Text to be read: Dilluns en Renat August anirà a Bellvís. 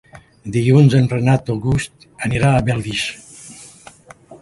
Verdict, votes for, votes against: accepted, 2, 0